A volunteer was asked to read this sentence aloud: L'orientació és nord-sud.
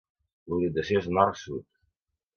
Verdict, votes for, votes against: accepted, 2, 1